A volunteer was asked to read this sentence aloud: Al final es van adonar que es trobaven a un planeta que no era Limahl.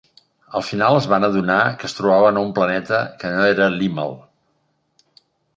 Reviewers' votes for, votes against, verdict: 0, 2, rejected